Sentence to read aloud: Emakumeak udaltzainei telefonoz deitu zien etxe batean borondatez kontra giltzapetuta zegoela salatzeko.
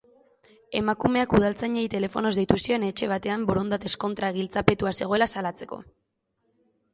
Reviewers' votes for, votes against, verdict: 1, 2, rejected